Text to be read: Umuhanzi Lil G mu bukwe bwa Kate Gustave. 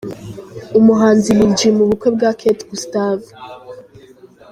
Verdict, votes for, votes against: accepted, 2, 0